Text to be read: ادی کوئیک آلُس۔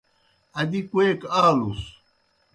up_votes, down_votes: 2, 0